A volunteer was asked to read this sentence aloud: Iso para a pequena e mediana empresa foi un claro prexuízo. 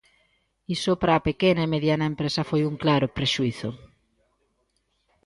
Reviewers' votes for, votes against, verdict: 2, 0, accepted